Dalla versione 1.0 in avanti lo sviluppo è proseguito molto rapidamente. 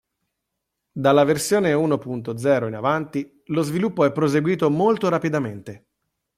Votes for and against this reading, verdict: 0, 2, rejected